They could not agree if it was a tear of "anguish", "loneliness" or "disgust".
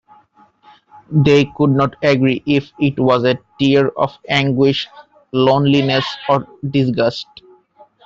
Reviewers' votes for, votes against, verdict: 0, 2, rejected